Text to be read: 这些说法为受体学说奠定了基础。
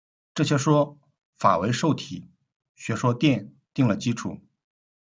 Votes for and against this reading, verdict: 1, 2, rejected